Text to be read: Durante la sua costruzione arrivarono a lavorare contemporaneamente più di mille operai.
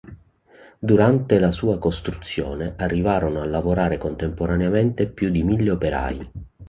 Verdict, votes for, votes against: accepted, 2, 0